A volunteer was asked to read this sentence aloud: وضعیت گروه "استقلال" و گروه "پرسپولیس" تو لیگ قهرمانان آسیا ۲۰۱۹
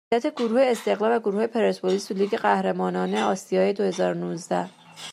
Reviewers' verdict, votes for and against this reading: rejected, 0, 2